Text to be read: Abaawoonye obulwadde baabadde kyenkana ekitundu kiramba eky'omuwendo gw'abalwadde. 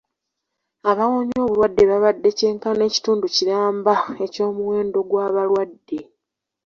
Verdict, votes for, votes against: accepted, 2, 0